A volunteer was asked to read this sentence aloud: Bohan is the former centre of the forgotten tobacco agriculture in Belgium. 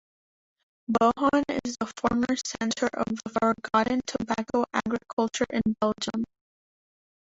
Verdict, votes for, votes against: rejected, 0, 2